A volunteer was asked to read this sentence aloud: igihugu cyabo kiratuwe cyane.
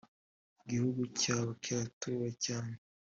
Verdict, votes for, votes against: accepted, 2, 0